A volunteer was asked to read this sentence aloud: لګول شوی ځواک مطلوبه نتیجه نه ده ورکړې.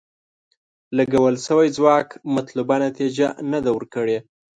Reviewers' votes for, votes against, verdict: 2, 0, accepted